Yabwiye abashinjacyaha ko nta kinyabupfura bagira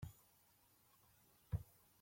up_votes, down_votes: 0, 2